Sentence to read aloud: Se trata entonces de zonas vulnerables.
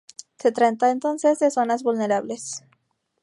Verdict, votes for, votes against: accepted, 4, 0